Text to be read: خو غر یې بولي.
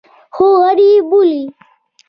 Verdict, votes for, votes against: accepted, 2, 0